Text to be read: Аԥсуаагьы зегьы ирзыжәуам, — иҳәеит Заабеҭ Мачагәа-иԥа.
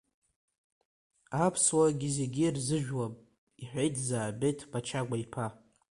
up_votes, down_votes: 2, 1